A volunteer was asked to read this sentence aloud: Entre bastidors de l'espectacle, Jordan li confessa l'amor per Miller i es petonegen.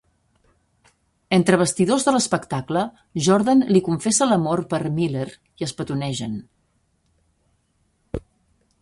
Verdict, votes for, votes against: accepted, 2, 0